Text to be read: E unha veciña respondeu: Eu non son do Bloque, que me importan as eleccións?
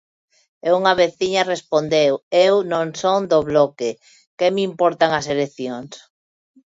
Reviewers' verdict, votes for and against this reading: accepted, 2, 0